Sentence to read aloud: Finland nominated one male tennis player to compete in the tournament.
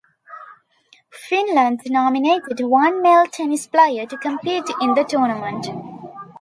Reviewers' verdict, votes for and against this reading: accepted, 2, 0